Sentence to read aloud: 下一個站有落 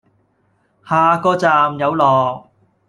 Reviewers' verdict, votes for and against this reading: rejected, 1, 2